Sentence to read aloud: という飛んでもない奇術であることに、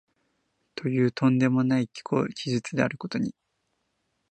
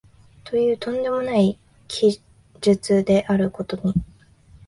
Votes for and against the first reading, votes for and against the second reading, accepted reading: 1, 2, 6, 4, second